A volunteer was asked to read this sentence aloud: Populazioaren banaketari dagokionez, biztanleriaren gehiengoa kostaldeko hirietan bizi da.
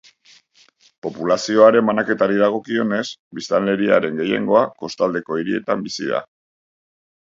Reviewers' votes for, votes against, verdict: 2, 0, accepted